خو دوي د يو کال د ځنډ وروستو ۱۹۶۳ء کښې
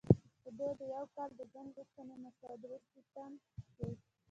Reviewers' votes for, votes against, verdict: 0, 2, rejected